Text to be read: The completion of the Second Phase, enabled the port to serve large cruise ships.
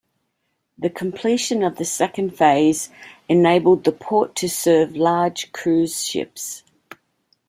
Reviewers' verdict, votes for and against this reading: accepted, 2, 0